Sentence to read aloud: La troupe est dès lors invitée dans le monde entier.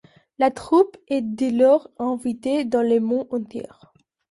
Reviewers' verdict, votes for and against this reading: accepted, 2, 1